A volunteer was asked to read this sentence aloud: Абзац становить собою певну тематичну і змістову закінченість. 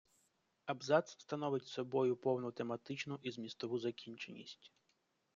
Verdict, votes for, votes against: rejected, 1, 2